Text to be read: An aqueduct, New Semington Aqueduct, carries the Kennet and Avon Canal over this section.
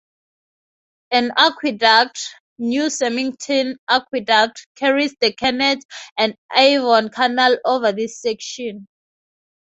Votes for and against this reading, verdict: 2, 2, rejected